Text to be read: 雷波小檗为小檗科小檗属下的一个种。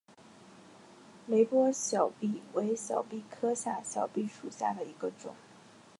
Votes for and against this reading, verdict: 3, 1, accepted